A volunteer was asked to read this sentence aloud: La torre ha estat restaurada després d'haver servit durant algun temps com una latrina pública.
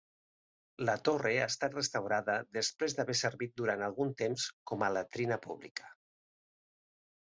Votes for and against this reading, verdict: 1, 2, rejected